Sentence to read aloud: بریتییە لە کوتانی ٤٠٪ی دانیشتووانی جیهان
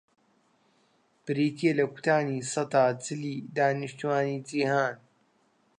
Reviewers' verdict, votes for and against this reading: rejected, 0, 2